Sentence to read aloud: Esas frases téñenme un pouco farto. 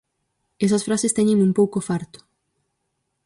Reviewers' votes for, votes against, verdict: 4, 0, accepted